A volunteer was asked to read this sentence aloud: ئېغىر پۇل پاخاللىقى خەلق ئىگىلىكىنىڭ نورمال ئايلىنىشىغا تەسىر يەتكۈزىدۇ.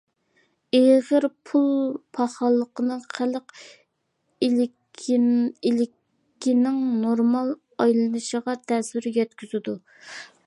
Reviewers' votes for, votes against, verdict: 0, 2, rejected